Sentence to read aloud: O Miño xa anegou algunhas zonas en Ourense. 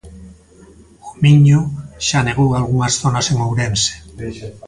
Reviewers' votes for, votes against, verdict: 1, 2, rejected